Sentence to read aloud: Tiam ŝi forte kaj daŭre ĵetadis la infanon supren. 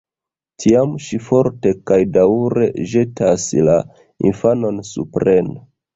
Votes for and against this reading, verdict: 0, 2, rejected